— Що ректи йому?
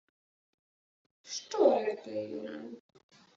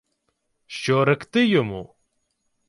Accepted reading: second